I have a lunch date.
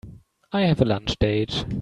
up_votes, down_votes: 2, 0